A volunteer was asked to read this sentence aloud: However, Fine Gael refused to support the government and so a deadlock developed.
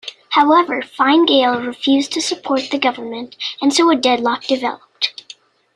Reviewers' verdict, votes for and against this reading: rejected, 0, 2